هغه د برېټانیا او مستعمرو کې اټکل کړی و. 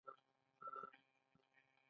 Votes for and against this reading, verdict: 2, 1, accepted